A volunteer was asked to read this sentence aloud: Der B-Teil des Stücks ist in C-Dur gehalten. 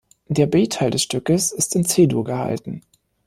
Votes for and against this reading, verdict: 1, 2, rejected